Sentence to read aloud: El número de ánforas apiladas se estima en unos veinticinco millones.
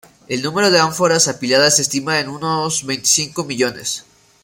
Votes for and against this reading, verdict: 0, 2, rejected